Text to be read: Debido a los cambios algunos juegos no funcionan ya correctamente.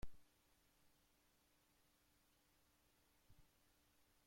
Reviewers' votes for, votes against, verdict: 0, 2, rejected